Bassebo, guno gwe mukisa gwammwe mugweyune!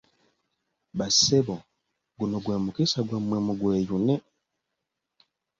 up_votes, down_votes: 2, 0